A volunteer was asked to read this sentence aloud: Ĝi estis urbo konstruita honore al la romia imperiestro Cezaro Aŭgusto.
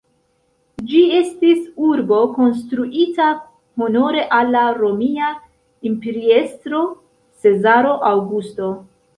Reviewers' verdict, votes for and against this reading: accepted, 2, 0